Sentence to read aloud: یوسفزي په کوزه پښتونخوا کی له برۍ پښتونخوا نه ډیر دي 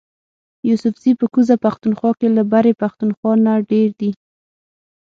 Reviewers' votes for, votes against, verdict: 0, 6, rejected